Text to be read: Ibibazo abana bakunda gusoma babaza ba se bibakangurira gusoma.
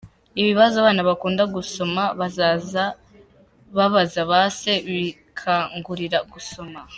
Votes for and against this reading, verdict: 0, 2, rejected